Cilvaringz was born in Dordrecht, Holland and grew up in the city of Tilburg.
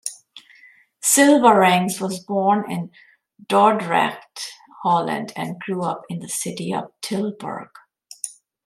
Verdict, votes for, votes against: accepted, 2, 0